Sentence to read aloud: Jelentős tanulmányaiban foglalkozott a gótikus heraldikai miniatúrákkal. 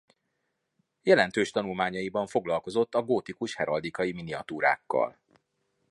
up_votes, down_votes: 2, 0